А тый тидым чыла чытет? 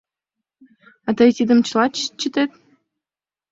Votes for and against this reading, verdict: 1, 2, rejected